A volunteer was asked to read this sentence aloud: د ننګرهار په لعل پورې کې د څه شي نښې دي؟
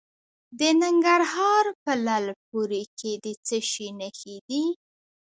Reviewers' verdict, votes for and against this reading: rejected, 0, 2